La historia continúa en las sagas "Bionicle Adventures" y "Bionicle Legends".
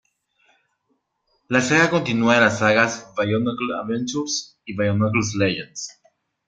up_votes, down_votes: 1, 2